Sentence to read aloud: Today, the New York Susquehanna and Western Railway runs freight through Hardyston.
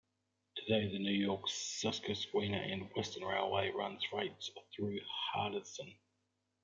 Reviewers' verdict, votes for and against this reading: rejected, 1, 2